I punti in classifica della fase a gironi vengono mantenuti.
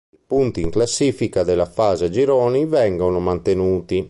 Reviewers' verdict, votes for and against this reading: rejected, 0, 2